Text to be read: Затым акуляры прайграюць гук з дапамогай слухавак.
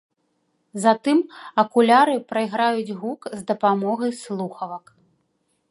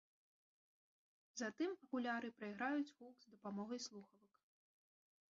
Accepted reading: first